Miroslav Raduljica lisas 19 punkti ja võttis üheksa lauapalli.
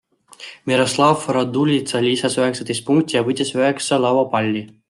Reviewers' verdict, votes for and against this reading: rejected, 0, 2